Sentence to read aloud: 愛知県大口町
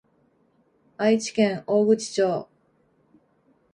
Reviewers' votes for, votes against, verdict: 2, 0, accepted